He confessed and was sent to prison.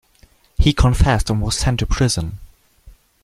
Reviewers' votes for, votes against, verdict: 2, 0, accepted